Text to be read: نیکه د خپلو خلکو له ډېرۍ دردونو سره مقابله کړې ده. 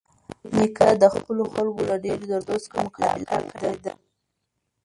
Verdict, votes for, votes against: rejected, 1, 2